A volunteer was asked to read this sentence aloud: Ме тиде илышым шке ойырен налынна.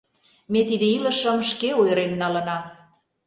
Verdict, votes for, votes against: rejected, 0, 3